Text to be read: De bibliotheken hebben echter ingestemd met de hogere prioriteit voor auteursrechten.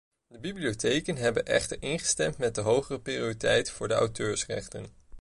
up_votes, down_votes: 2, 0